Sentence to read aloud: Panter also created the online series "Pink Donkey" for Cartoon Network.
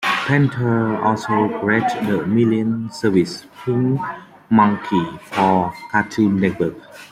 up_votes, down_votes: 0, 2